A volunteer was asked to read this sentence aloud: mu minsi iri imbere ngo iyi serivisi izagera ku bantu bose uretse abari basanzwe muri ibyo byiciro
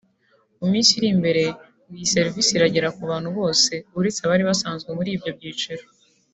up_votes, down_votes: 2, 1